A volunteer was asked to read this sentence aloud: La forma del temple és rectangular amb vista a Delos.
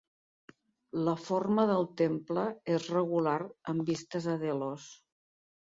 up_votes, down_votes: 1, 2